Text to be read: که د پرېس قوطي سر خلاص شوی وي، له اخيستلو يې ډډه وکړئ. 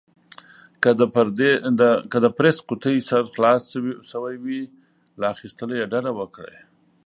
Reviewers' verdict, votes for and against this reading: rejected, 1, 2